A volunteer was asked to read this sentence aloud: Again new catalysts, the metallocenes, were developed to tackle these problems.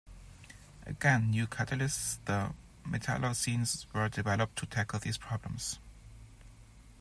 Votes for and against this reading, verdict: 1, 2, rejected